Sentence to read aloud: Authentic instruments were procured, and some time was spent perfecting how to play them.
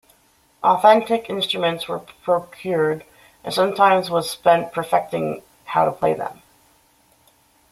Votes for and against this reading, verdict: 0, 2, rejected